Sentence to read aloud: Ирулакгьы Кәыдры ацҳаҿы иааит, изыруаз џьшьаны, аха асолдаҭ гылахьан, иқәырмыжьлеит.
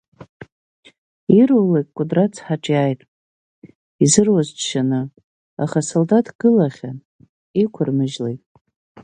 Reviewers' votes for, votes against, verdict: 3, 0, accepted